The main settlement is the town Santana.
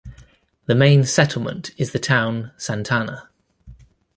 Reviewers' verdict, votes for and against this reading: accepted, 2, 0